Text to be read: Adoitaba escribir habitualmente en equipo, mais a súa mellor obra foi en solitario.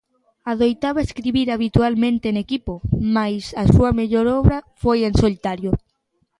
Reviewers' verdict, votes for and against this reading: accepted, 2, 0